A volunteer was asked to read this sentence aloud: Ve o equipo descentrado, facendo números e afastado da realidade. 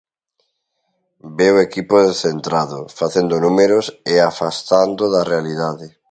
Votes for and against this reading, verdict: 0, 2, rejected